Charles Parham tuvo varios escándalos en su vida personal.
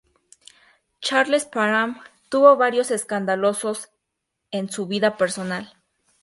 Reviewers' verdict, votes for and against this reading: rejected, 0, 2